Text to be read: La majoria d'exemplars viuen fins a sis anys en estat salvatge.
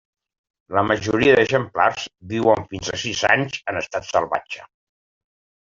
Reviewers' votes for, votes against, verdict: 3, 0, accepted